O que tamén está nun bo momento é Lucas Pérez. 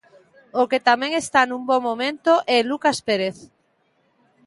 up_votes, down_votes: 2, 0